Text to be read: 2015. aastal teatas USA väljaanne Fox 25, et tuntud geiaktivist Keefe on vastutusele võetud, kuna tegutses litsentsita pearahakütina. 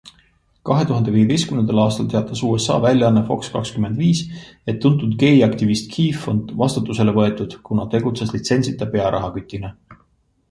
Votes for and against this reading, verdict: 0, 2, rejected